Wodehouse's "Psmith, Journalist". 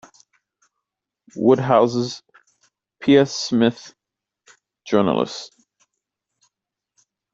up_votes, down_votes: 1, 2